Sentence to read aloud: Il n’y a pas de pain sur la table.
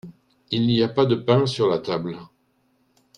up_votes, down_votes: 2, 0